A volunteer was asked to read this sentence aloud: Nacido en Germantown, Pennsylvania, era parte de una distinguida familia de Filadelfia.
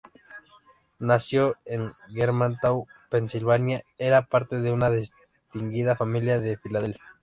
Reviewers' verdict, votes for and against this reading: rejected, 0, 2